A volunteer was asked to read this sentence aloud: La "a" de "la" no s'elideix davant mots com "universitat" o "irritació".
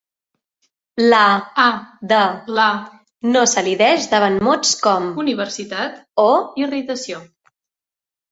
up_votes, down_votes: 2, 0